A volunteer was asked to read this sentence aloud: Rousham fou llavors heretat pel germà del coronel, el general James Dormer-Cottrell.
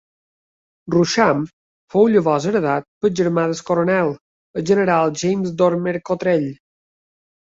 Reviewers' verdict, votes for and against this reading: accepted, 2, 1